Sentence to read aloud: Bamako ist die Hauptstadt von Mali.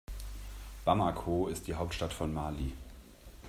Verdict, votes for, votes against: accepted, 2, 0